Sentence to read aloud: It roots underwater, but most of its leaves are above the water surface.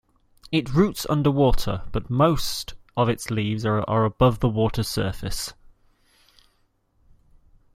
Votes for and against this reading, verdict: 2, 0, accepted